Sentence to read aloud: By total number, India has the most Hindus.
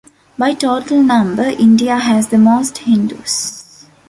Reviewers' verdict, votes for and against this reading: accepted, 2, 0